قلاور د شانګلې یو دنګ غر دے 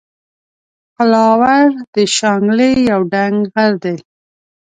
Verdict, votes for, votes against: accepted, 2, 0